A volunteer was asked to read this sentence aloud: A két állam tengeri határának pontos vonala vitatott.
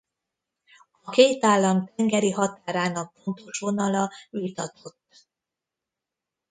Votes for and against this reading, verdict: 0, 2, rejected